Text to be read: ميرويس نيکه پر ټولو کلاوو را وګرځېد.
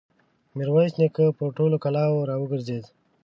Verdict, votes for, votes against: accepted, 2, 0